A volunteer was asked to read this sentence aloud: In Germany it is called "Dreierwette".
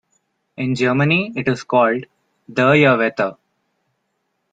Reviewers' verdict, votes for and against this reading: accepted, 2, 0